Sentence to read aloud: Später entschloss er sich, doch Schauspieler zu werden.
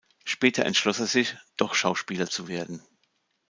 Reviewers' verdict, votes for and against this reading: accepted, 2, 0